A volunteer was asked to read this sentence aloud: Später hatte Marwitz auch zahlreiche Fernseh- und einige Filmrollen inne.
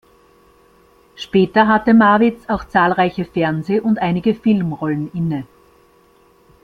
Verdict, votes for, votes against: accepted, 2, 0